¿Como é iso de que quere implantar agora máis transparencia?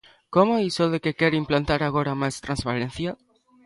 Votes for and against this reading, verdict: 1, 2, rejected